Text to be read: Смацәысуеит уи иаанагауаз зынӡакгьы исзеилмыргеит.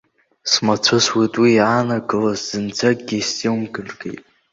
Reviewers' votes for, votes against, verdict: 1, 2, rejected